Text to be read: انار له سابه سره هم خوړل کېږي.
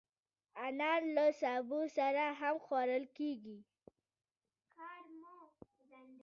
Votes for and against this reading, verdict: 0, 2, rejected